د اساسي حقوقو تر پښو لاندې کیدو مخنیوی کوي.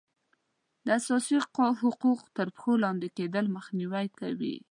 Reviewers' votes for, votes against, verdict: 0, 2, rejected